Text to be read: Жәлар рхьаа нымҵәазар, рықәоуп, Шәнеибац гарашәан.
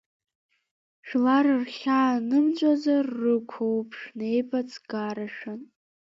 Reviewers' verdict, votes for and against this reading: rejected, 1, 2